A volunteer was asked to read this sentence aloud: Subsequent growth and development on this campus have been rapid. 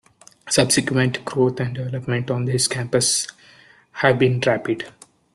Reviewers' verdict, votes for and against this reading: rejected, 1, 2